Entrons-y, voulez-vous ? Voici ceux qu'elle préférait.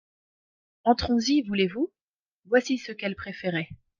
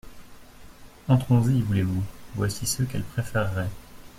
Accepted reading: first